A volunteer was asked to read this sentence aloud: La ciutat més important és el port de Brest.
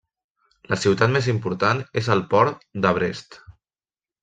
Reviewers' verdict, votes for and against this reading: accepted, 2, 0